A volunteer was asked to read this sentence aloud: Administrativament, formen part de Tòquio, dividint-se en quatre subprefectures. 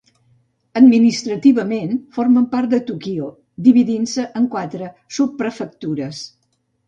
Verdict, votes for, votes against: rejected, 1, 2